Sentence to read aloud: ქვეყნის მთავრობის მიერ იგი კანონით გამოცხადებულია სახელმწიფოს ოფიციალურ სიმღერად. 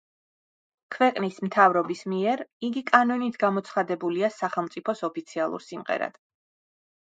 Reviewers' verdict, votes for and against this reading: rejected, 1, 2